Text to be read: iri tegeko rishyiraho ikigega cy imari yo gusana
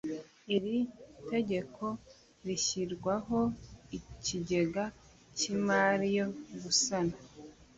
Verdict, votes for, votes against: rejected, 1, 2